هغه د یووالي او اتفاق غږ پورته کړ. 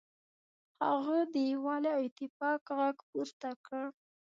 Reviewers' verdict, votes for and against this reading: accepted, 3, 0